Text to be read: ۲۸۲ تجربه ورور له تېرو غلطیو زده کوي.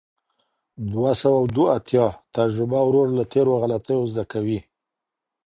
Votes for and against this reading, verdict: 0, 2, rejected